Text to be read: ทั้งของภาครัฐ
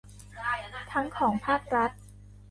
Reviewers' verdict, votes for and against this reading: rejected, 0, 2